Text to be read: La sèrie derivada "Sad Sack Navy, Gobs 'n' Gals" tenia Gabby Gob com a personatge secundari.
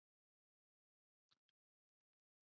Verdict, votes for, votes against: rejected, 0, 2